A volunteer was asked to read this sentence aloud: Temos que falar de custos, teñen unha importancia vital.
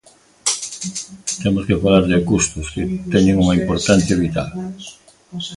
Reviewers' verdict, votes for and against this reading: rejected, 1, 2